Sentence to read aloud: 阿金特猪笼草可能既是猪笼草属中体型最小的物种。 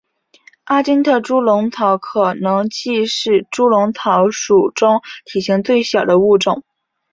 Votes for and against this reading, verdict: 6, 0, accepted